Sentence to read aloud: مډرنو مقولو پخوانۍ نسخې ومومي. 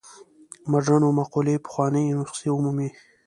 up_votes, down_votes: 2, 0